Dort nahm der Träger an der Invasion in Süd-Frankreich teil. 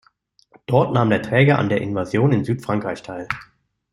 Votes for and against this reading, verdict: 2, 0, accepted